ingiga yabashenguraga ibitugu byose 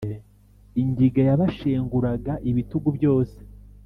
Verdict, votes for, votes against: accepted, 3, 0